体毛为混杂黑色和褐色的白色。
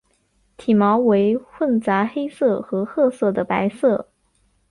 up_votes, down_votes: 2, 0